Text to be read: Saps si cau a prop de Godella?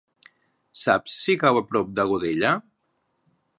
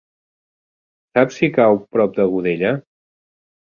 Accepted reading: first